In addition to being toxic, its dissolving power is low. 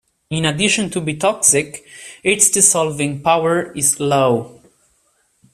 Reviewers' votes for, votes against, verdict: 1, 3, rejected